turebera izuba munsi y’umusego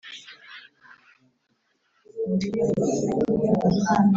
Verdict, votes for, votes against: rejected, 1, 5